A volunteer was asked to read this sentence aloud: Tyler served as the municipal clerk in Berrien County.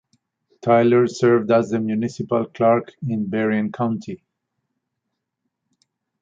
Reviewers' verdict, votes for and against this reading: rejected, 0, 4